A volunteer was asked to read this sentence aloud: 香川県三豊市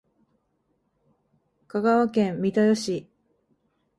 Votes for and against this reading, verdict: 24, 0, accepted